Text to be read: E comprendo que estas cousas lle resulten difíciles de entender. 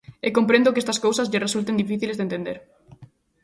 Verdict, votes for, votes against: accepted, 2, 0